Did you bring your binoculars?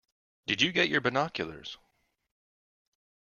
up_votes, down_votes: 0, 2